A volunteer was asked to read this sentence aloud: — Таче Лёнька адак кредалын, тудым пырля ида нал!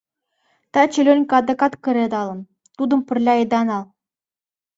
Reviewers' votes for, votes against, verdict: 0, 2, rejected